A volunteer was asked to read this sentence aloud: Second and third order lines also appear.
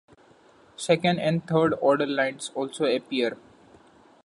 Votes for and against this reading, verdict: 2, 0, accepted